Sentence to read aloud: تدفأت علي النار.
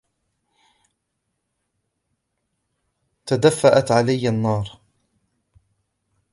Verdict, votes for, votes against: rejected, 0, 2